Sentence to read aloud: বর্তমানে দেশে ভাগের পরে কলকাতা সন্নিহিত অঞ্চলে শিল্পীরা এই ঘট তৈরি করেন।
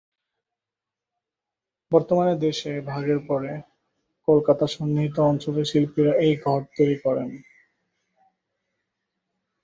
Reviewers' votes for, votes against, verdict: 2, 0, accepted